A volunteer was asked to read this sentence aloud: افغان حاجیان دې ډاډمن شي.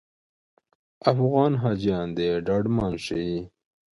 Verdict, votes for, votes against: rejected, 1, 2